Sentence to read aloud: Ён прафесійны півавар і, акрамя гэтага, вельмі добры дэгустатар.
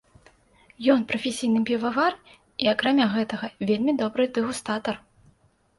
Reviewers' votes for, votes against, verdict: 2, 0, accepted